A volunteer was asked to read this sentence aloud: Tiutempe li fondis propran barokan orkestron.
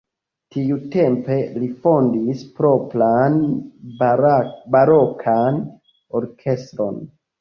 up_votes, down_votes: 1, 3